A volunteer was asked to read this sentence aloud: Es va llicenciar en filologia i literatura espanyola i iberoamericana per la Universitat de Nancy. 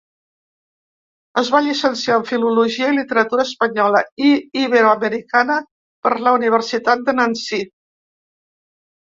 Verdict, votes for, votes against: accepted, 2, 0